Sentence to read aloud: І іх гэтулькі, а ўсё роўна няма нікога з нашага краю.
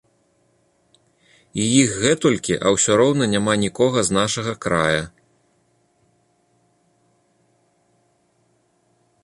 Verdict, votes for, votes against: rejected, 0, 2